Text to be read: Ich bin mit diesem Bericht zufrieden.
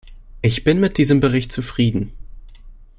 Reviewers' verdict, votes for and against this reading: accepted, 2, 0